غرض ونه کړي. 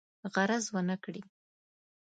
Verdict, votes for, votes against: accepted, 2, 0